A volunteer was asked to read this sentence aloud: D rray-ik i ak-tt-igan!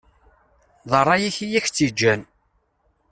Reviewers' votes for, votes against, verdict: 1, 2, rejected